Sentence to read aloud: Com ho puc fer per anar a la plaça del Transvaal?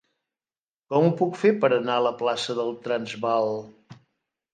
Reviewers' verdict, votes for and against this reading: accepted, 2, 0